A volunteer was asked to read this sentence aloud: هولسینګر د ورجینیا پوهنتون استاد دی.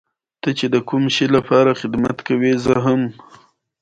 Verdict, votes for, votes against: accepted, 2, 1